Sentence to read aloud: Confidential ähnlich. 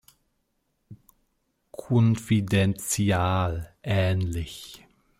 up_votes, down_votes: 1, 2